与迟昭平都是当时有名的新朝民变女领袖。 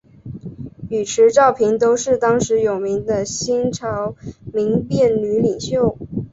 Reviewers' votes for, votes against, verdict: 6, 2, accepted